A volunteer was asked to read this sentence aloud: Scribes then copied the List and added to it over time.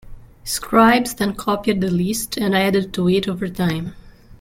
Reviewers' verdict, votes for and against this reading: accepted, 2, 1